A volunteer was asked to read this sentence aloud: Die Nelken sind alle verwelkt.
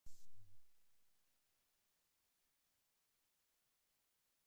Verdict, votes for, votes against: rejected, 0, 2